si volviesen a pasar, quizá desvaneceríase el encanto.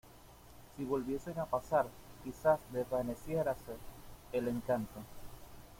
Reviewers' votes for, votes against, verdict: 1, 2, rejected